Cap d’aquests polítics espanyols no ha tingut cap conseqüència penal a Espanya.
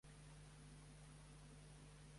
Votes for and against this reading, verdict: 0, 2, rejected